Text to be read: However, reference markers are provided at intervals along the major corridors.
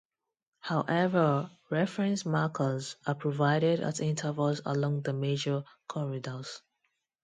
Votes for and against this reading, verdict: 2, 0, accepted